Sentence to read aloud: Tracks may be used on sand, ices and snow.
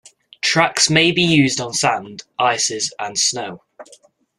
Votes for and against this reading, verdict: 2, 0, accepted